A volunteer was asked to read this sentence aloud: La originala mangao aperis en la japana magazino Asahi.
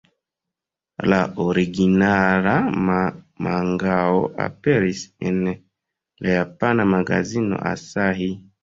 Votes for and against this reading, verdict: 0, 2, rejected